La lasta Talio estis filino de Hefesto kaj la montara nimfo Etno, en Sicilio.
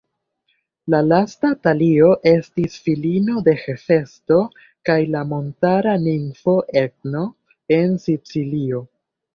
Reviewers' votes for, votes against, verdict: 1, 2, rejected